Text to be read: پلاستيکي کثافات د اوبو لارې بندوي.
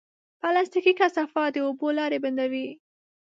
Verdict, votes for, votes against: accepted, 2, 0